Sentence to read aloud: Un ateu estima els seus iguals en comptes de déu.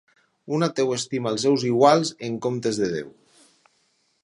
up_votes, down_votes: 4, 0